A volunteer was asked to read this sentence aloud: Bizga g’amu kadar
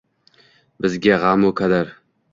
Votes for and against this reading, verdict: 1, 2, rejected